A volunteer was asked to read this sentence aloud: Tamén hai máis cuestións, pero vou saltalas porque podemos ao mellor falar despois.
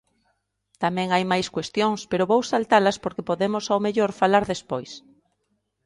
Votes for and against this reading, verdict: 2, 0, accepted